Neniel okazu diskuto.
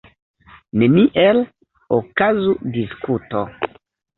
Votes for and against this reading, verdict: 2, 0, accepted